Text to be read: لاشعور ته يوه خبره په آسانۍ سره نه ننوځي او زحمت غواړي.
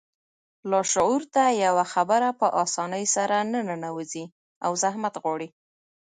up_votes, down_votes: 2, 0